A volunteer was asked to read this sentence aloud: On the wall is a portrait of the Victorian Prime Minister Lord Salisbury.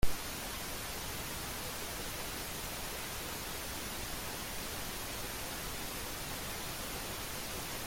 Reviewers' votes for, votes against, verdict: 0, 2, rejected